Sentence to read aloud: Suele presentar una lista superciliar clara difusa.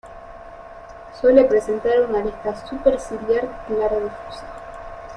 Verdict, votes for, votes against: rejected, 0, 2